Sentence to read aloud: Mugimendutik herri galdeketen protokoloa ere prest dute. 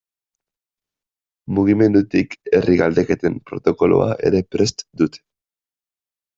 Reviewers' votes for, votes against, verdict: 1, 2, rejected